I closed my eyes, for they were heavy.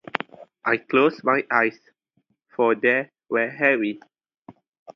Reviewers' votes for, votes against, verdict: 2, 0, accepted